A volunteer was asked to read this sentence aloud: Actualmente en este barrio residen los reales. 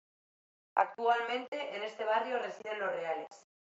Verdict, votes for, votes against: accepted, 2, 0